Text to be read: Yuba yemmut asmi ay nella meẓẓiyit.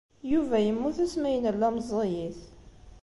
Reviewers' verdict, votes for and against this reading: accepted, 2, 0